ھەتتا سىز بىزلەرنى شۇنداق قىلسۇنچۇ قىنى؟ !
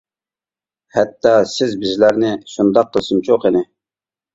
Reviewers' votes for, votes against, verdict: 1, 2, rejected